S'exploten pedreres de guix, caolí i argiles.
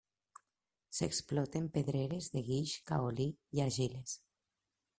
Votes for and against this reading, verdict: 2, 0, accepted